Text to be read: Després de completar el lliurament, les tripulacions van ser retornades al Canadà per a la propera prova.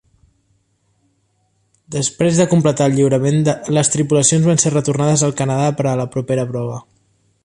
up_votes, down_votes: 1, 2